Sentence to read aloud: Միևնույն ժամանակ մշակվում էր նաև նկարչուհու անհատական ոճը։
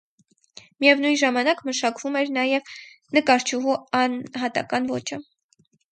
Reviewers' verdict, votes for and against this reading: rejected, 0, 4